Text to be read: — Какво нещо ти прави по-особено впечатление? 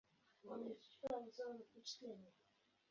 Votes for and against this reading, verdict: 0, 2, rejected